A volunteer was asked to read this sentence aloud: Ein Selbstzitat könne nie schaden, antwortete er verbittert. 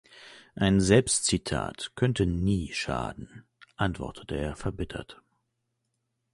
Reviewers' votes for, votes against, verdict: 1, 2, rejected